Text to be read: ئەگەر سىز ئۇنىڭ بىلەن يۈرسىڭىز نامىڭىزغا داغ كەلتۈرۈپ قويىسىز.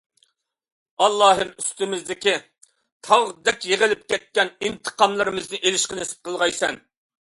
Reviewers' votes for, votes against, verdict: 0, 2, rejected